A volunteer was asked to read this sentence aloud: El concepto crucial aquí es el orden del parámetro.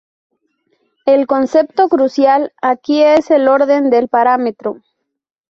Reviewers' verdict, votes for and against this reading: accepted, 2, 0